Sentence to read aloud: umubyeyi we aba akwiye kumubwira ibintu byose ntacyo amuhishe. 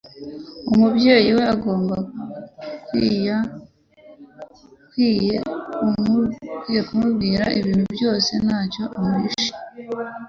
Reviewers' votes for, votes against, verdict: 0, 2, rejected